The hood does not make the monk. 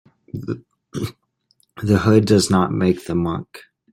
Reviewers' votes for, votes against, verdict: 1, 2, rejected